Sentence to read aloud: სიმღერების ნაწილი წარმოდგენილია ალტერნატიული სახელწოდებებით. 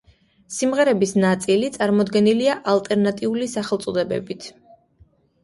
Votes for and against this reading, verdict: 2, 0, accepted